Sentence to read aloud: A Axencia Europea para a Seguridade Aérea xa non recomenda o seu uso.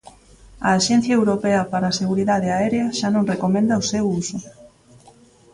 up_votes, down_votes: 1, 2